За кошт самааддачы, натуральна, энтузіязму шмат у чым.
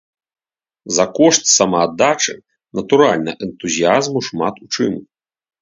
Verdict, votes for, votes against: accepted, 2, 0